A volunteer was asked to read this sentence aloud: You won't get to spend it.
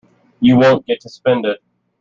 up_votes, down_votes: 2, 0